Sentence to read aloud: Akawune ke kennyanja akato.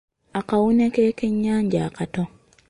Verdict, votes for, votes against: rejected, 1, 2